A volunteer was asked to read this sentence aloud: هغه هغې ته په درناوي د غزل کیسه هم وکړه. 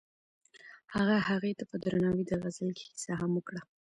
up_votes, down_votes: 0, 2